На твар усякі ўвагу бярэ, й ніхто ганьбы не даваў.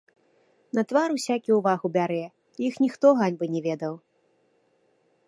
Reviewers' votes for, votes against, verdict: 0, 2, rejected